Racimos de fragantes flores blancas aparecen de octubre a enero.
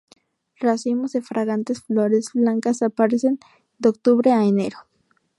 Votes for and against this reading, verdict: 4, 0, accepted